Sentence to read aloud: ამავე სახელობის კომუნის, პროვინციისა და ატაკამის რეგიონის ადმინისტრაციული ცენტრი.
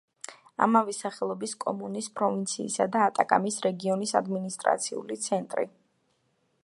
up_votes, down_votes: 2, 0